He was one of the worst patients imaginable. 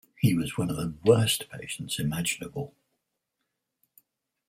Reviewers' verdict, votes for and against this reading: rejected, 0, 4